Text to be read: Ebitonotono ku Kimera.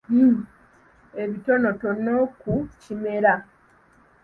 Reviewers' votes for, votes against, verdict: 2, 1, accepted